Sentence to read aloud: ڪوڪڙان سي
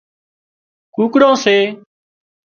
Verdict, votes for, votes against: rejected, 1, 2